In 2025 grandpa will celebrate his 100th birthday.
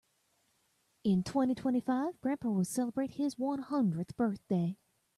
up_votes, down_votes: 0, 2